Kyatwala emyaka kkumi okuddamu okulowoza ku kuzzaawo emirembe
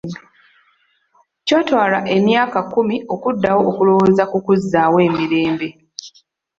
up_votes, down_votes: 1, 2